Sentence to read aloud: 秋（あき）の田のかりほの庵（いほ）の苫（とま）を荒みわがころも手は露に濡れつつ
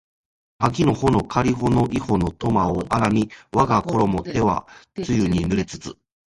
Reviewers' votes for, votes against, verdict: 0, 2, rejected